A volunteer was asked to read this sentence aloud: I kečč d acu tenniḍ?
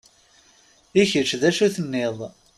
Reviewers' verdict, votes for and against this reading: accepted, 3, 0